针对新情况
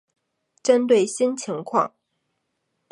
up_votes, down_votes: 3, 0